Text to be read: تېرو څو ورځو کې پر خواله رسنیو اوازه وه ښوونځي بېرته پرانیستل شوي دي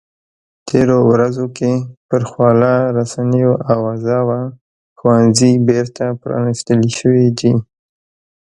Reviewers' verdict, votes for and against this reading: rejected, 1, 2